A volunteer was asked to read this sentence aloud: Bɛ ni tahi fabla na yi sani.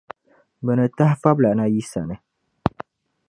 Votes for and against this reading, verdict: 2, 0, accepted